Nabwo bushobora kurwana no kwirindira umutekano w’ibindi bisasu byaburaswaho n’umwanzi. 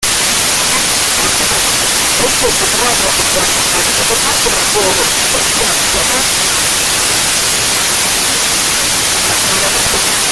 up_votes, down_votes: 0, 2